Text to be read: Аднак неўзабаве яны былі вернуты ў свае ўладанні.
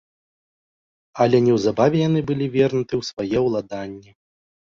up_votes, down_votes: 0, 2